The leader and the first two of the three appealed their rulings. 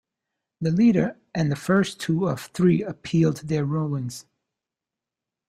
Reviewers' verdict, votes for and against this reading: accepted, 2, 0